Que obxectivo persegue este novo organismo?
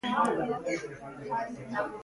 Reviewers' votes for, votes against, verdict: 0, 2, rejected